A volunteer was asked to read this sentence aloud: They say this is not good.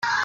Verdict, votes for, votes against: rejected, 0, 3